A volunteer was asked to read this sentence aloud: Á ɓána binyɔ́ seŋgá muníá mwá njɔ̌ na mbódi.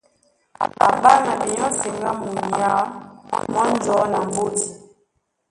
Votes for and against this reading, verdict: 0, 2, rejected